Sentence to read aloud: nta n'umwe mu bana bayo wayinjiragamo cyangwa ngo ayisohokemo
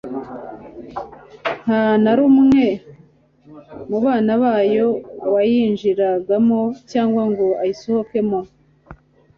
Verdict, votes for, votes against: rejected, 1, 2